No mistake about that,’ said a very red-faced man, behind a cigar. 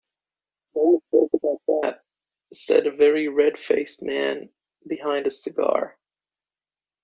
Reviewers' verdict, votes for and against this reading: rejected, 0, 2